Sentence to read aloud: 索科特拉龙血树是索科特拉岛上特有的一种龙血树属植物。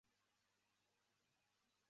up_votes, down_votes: 0, 3